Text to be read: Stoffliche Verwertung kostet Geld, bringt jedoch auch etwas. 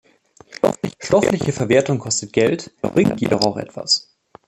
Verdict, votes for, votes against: rejected, 0, 2